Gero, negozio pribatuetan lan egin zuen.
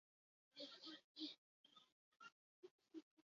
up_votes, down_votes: 0, 4